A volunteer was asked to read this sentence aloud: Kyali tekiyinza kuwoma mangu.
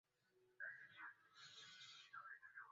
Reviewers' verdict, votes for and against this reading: rejected, 0, 4